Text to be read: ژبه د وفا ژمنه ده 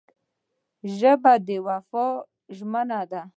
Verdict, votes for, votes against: accepted, 2, 0